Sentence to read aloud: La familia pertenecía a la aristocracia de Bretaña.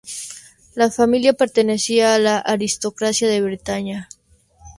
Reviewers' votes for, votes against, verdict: 2, 0, accepted